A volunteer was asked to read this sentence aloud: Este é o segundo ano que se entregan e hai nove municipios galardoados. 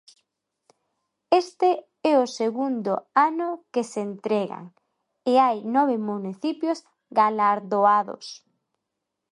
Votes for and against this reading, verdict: 1, 2, rejected